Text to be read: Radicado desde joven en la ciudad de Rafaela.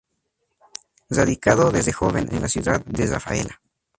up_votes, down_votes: 0, 2